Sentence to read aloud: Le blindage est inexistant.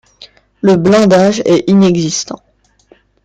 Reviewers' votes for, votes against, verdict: 2, 0, accepted